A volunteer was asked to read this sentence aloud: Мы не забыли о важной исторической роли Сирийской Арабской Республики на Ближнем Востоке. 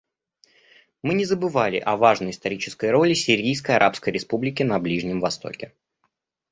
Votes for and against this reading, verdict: 0, 2, rejected